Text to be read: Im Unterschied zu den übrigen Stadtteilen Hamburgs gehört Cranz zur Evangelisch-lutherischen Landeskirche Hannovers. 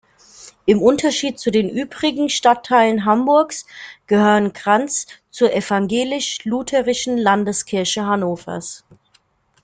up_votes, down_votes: 0, 2